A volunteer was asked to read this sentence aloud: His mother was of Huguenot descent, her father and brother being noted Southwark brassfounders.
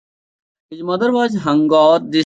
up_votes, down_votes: 0, 3